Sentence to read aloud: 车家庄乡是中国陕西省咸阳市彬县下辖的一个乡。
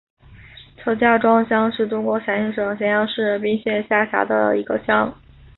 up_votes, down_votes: 5, 1